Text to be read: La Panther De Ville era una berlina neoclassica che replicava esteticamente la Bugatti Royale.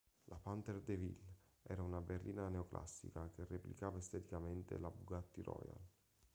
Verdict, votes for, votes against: rejected, 0, 2